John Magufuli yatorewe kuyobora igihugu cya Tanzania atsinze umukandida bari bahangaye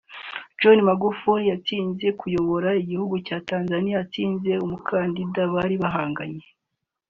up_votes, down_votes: 0, 2